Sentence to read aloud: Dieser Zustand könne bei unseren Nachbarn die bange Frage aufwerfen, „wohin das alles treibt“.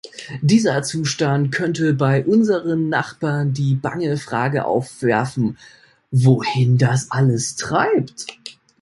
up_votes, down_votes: 1, 2